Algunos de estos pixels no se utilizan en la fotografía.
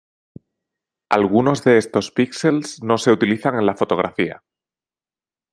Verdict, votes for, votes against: accepted, 2, 0